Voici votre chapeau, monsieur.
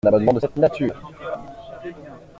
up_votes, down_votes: 0, 2